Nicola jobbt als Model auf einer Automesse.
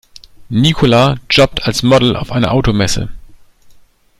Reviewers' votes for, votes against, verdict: 2, 0, accepted